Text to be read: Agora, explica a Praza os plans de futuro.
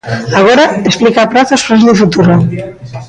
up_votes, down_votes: 1, 2